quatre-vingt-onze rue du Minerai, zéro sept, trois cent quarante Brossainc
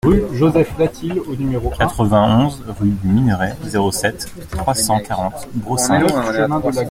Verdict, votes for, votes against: rejected, 0, 2